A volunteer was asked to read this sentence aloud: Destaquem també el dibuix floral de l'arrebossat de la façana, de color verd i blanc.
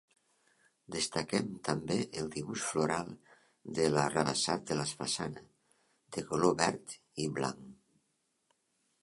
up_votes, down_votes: 1, 2